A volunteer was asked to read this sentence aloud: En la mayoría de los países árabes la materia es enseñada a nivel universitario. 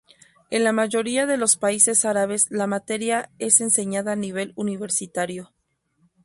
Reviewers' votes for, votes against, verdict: 2, 0, accepted